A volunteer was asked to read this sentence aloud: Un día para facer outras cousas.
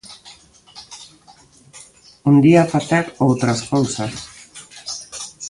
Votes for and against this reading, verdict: 0, 2, rejected